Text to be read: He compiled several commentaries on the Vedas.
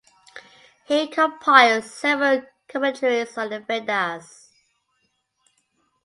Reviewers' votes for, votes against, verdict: 2, 1, accepted